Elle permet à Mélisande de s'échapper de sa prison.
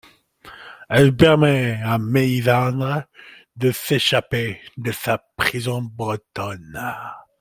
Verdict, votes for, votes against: rejected, 0, 2